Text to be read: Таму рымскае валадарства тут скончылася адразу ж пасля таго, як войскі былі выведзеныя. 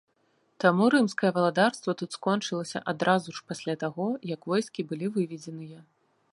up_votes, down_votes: 2, 0